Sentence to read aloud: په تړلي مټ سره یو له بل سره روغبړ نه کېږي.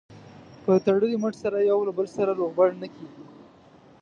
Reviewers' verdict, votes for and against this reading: accepted, 2, 0